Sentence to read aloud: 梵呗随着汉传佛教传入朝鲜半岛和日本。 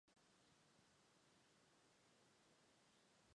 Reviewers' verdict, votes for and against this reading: rejected, 1, 2